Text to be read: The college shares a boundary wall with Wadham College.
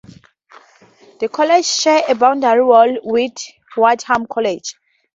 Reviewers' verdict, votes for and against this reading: rejected, 0, 2